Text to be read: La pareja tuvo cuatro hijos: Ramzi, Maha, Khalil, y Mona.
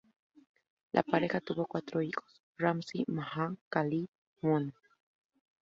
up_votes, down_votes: 2, 0